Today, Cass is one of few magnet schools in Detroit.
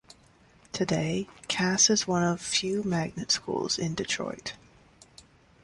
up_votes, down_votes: 2, 0